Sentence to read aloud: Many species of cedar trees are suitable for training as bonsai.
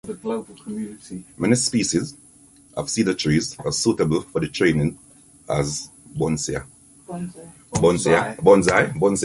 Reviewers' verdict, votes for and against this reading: rejected, 0, 2